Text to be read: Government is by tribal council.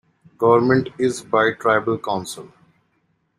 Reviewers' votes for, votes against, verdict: 1, 2, rejected